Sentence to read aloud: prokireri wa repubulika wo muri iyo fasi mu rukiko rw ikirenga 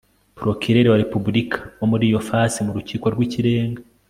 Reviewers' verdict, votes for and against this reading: accepted, 2, 0